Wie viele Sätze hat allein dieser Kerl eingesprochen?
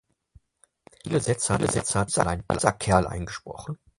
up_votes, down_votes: 0, 4